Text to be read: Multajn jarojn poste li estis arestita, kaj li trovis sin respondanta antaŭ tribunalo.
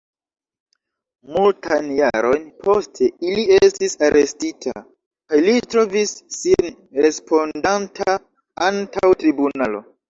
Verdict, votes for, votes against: rejected, 0, 2